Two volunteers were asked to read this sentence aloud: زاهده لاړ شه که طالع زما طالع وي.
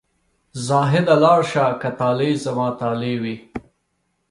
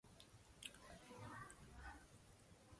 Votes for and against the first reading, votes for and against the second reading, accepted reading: 3, 0, 1, 2, first